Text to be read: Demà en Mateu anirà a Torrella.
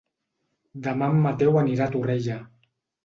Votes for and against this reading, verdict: 1, 2, rejected